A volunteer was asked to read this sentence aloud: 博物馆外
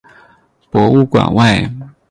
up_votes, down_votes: 6, 0